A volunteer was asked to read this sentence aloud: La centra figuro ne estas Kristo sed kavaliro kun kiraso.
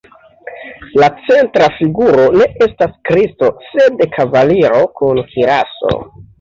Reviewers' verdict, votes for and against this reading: accepted, 2, 0